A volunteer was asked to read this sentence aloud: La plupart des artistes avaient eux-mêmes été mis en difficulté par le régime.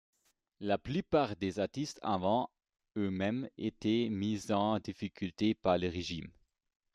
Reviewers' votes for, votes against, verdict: 1, 2, rejected